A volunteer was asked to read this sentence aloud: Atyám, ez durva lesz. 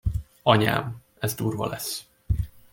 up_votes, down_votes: 0, 2